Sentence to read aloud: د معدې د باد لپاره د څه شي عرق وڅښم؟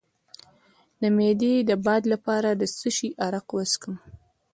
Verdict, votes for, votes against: rejected, 0, 2